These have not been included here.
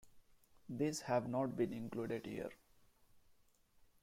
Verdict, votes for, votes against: rejected, 1, 2